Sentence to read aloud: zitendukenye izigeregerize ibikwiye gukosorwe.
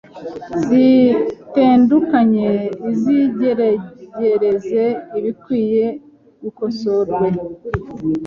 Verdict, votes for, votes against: rejected, 1, 2